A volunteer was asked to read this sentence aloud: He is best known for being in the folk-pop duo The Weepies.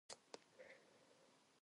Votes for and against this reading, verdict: 0, 2, rejected